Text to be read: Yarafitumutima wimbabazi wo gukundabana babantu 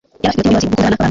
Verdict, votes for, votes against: rejected, 1, 2